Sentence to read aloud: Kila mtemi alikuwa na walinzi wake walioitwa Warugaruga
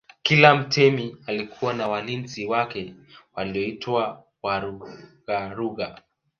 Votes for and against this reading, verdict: 2, 0, accepted